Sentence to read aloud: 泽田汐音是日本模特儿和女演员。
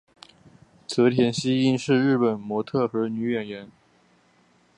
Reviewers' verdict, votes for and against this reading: accepted, 7, 2